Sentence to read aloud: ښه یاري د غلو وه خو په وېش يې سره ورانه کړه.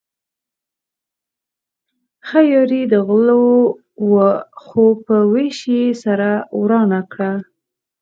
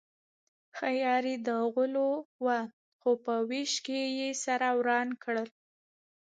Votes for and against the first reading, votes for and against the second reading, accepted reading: 4, 0, 1, 2, first